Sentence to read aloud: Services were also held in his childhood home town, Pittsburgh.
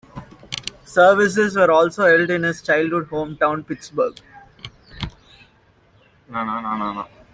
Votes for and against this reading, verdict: 1, 2, rejected